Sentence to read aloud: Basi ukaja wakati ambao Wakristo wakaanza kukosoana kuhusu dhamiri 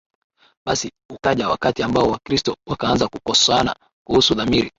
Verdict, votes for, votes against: accepted, 2, 0